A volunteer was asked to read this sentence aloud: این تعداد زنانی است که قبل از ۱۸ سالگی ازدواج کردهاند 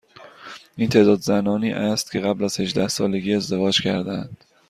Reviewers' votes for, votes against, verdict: 0, 2, rejected